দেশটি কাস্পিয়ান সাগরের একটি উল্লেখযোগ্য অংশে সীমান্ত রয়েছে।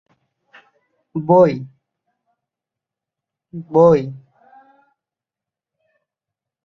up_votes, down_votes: 0, 5